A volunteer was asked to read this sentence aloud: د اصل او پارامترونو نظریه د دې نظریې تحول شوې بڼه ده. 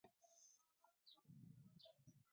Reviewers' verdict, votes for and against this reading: rejected, 0, 2